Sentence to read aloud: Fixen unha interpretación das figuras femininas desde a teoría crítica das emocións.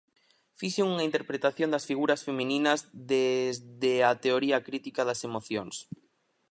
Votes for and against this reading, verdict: 2, 2, rejected